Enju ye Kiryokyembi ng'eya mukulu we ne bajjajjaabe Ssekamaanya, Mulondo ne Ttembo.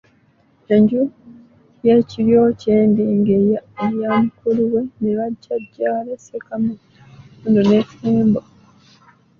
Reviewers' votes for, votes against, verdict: 0, 2, rejected